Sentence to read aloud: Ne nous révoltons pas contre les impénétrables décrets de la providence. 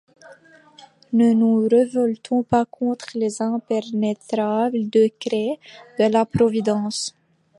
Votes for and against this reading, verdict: 1, 2, rejected